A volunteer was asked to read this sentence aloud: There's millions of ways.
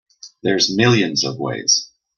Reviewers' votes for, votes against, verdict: 2, 0, accepted